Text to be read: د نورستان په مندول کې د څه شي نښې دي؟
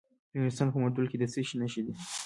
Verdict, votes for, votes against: rejected, 0, 2